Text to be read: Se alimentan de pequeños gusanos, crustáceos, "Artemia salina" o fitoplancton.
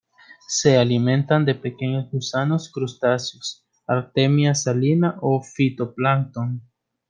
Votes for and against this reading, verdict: 2, 0, accepted